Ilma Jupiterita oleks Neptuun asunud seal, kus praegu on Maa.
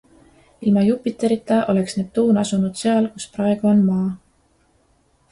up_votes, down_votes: 2, 0